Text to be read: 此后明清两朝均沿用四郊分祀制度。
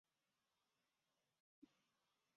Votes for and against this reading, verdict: 0, 2, rejected